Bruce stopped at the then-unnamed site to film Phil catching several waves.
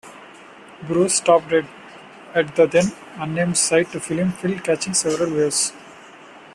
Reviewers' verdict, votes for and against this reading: rejected, 0, 2